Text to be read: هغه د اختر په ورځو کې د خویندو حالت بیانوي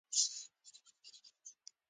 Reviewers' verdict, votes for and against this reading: accepted, 2, 1